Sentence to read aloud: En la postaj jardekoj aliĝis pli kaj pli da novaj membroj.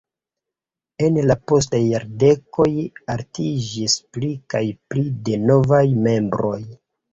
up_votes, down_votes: 2, 0